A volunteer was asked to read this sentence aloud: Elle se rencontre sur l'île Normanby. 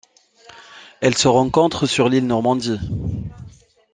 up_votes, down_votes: 0, 2